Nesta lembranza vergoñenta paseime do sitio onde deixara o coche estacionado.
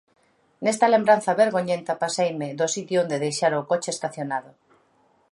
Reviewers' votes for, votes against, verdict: 2, 0, accepted